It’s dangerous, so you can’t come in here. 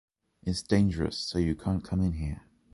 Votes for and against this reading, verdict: 2, 0, accepted